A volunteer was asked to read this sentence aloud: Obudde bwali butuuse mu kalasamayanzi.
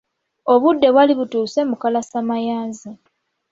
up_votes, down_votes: 1, 2